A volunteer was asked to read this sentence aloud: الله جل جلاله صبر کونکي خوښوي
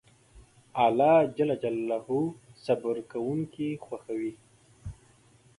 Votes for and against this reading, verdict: 2, 0, accepted